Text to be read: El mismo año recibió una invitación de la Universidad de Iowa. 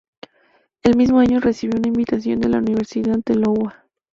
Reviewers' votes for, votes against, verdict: 2, 0, accepted